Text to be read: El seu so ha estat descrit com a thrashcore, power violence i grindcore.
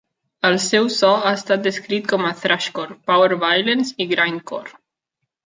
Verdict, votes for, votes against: accepted, 2, 0